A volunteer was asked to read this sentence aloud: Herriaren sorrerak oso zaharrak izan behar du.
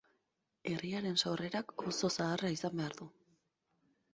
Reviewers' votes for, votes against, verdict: 2, 4, rejected